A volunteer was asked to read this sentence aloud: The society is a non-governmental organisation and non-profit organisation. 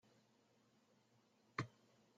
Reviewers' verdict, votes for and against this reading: rejected, 0, 2